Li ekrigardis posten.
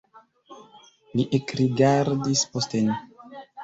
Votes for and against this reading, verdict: 1, 2, rejected